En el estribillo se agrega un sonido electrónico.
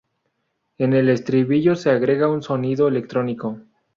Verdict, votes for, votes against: accepted, 2, 0